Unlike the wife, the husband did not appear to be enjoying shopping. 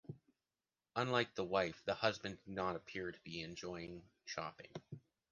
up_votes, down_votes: 2, 0